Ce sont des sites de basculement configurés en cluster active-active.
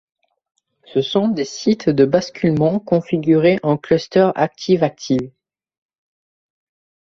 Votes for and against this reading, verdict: 2, 0, accepted